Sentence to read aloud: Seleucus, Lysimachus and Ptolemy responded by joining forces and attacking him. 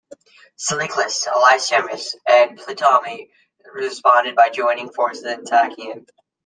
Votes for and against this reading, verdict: 0, 2, rejected